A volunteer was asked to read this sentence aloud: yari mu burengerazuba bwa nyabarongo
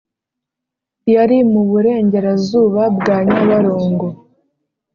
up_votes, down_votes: 3, 0